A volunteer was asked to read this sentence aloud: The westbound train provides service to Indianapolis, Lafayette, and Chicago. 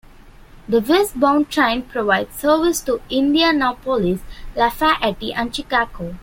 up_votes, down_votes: 2, 1